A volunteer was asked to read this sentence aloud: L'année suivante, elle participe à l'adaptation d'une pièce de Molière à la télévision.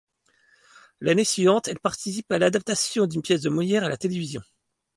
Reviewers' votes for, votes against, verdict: 2, 0, accepted